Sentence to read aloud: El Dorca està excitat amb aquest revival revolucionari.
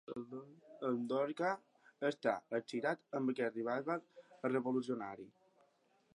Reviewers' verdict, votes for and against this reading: accepted, 2, 1